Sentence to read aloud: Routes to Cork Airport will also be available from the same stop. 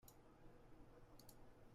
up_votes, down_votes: 0, 2